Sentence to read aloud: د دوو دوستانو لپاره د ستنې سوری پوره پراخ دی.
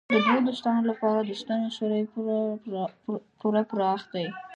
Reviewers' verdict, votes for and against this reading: rejected, 1, 2